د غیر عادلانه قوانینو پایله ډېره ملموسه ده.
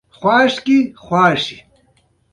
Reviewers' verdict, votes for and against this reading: accepted, 2, 0